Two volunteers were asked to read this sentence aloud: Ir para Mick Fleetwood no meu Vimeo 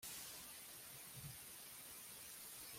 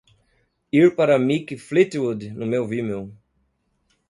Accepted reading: second